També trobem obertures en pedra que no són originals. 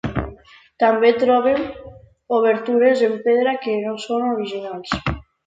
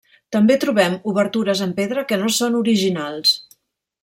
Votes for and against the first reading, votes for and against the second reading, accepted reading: 1, 2, 3, 0, second